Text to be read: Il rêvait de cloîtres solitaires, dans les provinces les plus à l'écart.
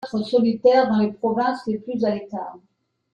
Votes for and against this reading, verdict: 0, 2, rejected